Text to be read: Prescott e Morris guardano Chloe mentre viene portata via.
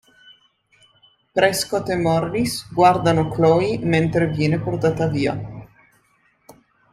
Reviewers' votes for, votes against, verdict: 2, 0, accepted